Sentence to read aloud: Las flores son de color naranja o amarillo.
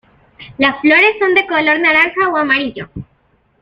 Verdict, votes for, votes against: accepted, 2, 0